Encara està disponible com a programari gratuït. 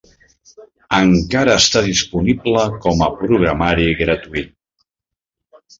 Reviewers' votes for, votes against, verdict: 3, 0, accepted